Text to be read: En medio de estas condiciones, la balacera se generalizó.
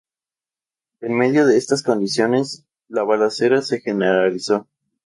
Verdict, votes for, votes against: accepted, 2, 0